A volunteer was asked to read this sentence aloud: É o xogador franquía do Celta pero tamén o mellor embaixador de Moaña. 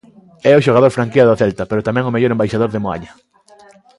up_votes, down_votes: 2, 0